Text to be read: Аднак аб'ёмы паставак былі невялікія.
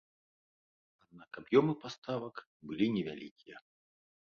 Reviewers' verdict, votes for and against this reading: rejected, 1, 2